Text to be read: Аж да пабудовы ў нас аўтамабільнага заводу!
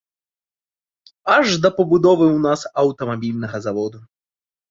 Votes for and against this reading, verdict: 2, 0, accepted